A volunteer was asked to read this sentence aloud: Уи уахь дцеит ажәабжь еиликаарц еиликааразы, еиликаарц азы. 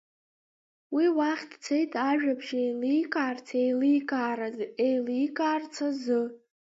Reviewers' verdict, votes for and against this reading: rejected, 1, 3